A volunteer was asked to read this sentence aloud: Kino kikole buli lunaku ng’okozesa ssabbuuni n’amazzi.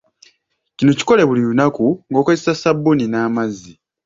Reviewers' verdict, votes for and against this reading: accepted, 2, 1